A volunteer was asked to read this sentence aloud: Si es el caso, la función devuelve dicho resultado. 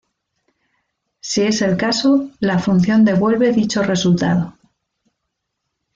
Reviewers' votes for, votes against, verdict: 2, 0, accepted